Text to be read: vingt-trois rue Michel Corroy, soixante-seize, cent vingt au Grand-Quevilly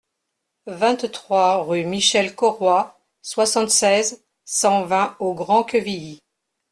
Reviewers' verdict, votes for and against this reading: accepted, 2, 0